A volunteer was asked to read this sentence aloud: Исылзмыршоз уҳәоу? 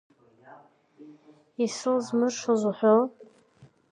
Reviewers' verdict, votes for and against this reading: accepted, 3, 2